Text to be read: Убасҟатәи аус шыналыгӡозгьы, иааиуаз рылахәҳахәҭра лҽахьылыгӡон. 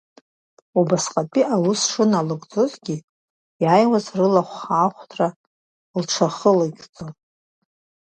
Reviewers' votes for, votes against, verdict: 1, 2, rejected